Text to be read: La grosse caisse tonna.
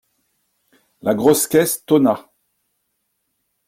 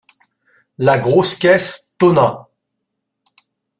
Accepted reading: first